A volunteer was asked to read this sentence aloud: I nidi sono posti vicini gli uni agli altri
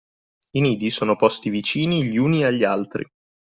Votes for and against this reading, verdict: 2, 0, accepted